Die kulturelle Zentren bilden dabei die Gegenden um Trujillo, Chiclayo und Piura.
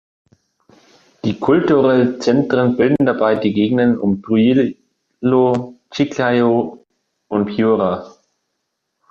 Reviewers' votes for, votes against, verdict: 0, 2, rejected